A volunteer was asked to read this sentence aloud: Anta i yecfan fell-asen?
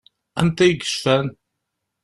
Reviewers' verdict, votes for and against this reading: rejected, 0, 2